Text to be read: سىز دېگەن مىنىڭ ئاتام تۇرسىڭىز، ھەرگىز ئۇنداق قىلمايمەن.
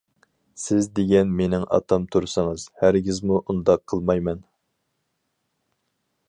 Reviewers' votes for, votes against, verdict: 0, 4, rejected